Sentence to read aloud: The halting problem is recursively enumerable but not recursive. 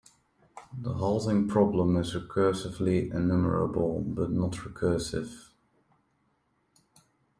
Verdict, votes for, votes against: accepted, 2, 1